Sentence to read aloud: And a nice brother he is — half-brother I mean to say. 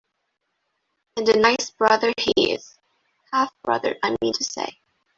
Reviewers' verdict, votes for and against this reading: rejected, 1, 2